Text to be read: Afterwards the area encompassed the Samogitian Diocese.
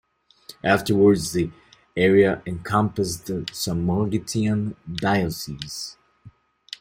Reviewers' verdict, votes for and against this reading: rejected, 0, 2